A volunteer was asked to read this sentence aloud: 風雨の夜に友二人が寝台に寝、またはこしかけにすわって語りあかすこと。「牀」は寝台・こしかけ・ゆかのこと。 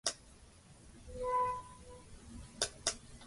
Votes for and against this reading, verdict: 1, 2, rejected